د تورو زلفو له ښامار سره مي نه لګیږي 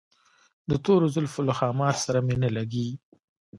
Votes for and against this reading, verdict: 0, 2, rejected